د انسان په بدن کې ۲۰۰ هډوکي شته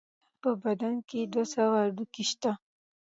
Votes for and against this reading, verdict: 0, 2, rejected